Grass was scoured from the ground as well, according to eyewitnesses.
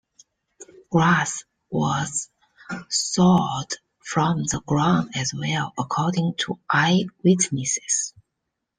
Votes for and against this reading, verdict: 0, 2, rejected